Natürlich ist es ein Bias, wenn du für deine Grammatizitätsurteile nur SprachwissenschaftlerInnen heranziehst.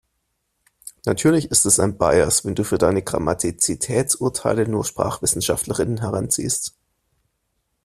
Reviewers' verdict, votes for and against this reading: accepted, 2, 0